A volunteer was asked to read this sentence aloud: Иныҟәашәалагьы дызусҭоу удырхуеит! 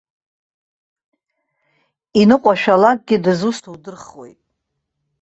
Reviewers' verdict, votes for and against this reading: rejected, 1, 2